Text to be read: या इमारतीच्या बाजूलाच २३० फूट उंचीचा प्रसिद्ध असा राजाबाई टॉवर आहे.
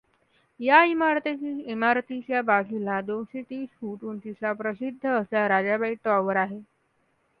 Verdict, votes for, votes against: rejected, 0, 2